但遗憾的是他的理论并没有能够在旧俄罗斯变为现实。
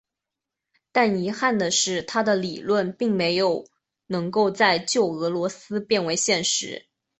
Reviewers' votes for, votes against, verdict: 4, 0, accepted